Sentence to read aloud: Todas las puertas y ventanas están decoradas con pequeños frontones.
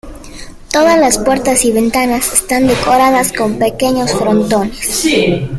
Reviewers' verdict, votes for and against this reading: accepted, 2, 0